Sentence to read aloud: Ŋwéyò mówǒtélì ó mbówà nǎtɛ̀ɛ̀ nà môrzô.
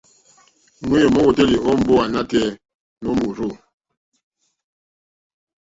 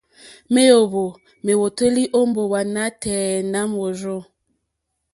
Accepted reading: second